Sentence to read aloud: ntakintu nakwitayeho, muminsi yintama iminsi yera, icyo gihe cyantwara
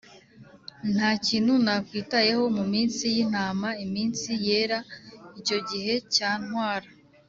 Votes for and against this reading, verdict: 2, 0, accepted